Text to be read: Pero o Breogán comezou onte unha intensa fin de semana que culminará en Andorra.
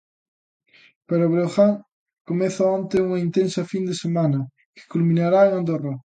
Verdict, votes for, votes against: rejected, 0, 2